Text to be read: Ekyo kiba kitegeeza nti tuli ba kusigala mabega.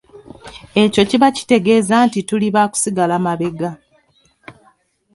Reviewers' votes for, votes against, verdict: 2, 0, accepted